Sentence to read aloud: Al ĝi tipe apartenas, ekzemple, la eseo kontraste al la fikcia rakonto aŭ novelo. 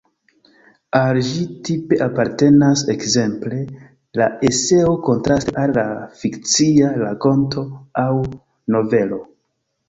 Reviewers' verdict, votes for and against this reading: rejected, 0, 2